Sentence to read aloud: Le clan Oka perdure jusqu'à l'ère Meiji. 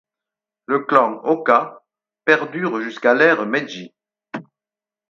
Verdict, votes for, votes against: accepted, 4, 0